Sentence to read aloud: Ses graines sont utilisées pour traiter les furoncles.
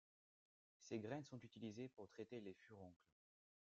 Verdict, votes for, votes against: rejected, 1, 2